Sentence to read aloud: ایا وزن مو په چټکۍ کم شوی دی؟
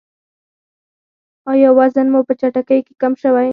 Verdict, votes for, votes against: rejected, 2, 4